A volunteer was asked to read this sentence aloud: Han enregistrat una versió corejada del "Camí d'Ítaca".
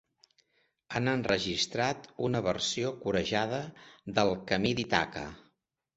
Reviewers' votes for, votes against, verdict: 0, 2, rejected